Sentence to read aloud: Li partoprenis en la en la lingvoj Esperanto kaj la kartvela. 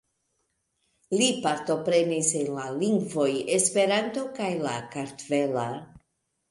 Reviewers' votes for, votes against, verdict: 1, 2, rejected